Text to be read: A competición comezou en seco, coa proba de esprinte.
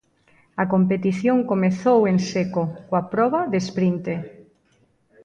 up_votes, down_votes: 1, 2